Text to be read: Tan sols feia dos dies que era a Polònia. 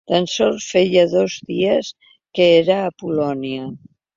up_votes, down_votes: 3, 0